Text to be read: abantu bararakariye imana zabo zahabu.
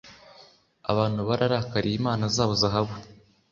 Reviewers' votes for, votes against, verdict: 2, 0, accepted